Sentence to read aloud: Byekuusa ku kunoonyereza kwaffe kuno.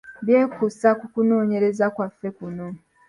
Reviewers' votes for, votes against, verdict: 0, 2, rejected